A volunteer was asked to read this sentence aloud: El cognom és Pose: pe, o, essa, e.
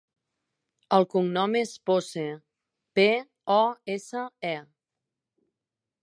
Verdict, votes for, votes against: accepted, 2, 0